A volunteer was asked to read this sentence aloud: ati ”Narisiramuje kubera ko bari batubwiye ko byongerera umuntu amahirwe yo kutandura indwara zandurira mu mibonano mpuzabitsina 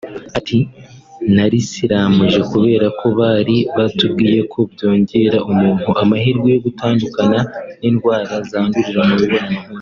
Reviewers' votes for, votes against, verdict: 1, 2, rejected